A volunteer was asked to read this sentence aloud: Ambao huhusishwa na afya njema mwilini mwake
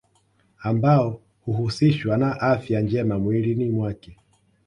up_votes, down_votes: 2, 0